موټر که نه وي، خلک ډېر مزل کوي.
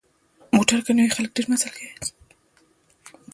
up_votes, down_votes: 2, 0